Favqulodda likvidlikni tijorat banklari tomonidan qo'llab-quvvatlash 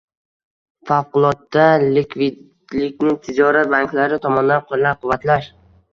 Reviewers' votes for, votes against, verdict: 0, 2, rejected